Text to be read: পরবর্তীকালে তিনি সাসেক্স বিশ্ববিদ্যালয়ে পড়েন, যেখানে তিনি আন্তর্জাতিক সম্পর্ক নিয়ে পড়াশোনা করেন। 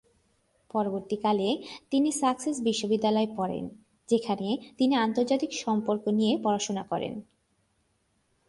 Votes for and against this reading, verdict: 1, 2, rejected